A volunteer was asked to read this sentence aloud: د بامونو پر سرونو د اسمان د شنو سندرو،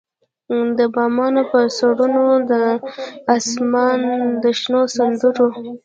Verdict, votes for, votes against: rejected, 0, 2